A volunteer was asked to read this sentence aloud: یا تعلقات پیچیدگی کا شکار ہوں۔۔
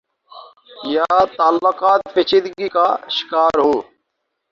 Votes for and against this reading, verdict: 0, 2, rejected